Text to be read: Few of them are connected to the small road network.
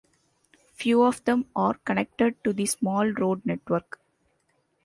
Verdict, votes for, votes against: accepted, 2, 0